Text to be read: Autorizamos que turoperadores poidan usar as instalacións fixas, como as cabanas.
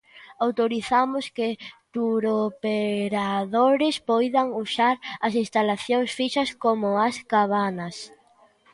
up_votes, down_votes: 0, 2